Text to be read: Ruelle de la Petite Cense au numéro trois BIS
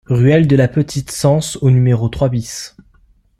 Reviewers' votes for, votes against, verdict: 2, 0, accepted